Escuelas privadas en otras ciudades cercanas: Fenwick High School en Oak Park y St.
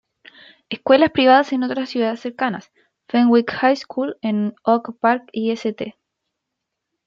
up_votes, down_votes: 1, 2